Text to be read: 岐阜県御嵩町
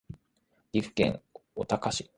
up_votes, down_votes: 2, 1